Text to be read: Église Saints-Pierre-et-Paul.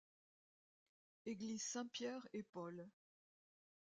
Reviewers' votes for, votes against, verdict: 2, 0, accepted